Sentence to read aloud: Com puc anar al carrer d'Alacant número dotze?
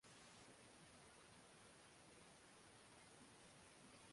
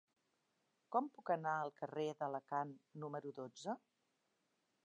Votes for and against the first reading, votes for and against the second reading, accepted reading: 0, 2, 2, 0, second